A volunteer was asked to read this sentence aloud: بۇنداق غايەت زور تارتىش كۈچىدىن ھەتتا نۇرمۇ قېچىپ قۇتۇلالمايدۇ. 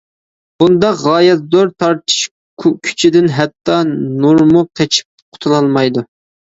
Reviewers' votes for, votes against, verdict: 0, 2, rejected